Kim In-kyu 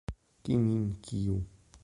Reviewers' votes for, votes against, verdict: 1, 2, rejected